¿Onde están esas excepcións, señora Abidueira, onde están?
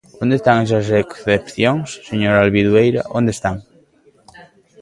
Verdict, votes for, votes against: rejected, 0, 2